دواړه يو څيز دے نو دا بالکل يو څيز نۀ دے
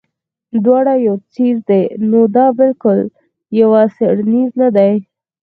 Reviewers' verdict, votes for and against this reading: accepted, 4, 0